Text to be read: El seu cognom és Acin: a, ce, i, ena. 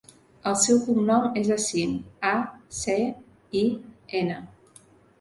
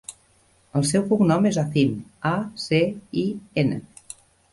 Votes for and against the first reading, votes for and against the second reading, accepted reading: 2, 0, 1, 2, first